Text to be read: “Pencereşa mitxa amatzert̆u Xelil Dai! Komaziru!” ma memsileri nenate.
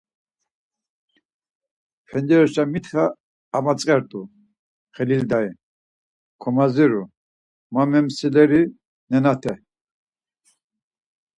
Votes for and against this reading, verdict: 4, 0, accepted